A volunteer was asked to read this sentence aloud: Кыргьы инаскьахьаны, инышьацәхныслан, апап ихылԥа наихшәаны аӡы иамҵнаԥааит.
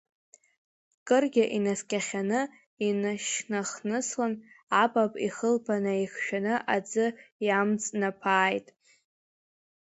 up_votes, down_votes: 0, 2